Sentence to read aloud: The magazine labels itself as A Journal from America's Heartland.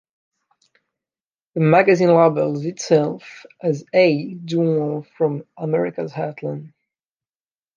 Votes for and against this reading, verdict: 2, 0, accepted